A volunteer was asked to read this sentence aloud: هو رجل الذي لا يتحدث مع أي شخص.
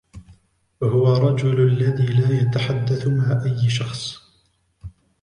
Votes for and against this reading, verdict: 1, 2, rejected